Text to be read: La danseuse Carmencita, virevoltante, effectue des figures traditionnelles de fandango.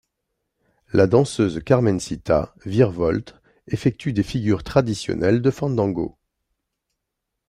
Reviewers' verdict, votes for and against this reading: rejected, 2, 3